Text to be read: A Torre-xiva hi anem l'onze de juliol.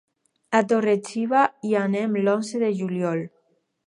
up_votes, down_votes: 4, 2